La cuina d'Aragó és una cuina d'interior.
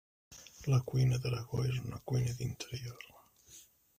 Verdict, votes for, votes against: rejected, 0, 2